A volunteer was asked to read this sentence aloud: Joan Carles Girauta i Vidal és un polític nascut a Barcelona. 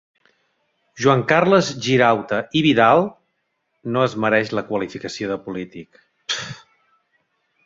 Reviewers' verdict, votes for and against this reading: rejected, 0, 3